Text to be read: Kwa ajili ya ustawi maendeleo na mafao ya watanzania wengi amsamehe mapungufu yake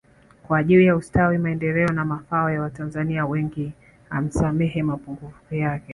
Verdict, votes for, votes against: accepted, 2, 0